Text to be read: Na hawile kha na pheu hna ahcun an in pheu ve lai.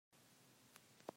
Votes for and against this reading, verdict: 0, 2, rejected